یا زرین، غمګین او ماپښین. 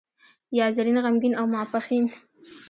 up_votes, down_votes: 1, 2